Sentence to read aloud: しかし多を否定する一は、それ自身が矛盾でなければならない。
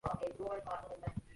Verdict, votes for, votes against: rejected, 0, 2